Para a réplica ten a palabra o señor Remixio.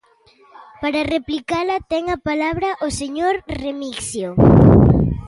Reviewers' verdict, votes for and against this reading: rejected, 0, 2